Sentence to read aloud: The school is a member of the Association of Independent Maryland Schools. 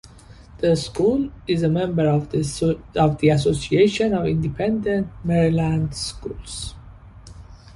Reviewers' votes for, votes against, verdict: 2, 0, accepted